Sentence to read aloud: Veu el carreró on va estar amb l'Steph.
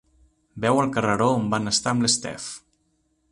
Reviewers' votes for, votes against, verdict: 1, 2, rejected